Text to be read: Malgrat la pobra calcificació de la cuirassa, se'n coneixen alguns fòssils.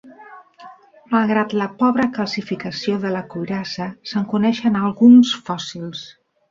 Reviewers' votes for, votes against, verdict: 0, 3, rejected